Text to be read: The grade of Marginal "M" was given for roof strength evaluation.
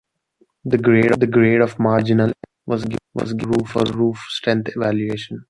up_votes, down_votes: 0, 2